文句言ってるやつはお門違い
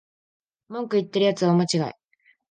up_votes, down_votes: 0, 2